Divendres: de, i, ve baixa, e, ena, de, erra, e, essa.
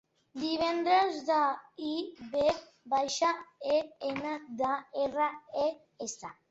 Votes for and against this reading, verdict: 2, 1, accepted